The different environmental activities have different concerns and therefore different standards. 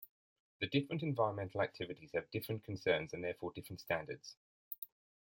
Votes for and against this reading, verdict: 2, 0, accepted